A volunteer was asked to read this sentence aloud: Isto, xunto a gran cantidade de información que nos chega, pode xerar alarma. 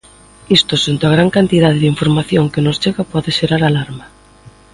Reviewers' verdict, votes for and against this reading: accepted, 2, 0